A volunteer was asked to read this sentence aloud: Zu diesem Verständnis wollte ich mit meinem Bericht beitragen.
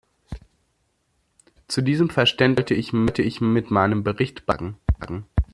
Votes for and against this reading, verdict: 0, 2, rejected